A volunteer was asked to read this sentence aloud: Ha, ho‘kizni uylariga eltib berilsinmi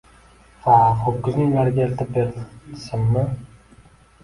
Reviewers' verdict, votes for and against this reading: rejected, 0, 2